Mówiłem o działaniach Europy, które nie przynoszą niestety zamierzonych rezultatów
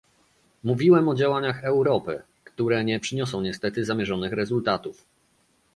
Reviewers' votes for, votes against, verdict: 0, 2, rejected